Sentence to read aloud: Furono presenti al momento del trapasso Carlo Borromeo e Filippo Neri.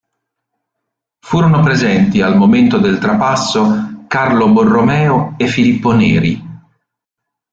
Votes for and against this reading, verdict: 2, 1, accepted